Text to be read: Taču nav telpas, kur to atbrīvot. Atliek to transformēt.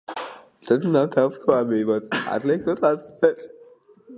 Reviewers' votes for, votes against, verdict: 0, 2, rejected